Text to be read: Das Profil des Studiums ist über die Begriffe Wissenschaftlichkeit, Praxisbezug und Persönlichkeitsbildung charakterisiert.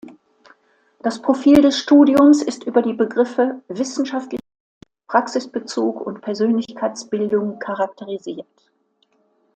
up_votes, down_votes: 0, 2